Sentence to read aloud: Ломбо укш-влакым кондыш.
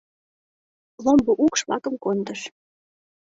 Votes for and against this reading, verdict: 2, 0, accepted